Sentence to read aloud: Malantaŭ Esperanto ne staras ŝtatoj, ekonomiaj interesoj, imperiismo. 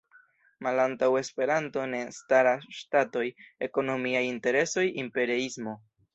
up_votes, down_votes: 2, 0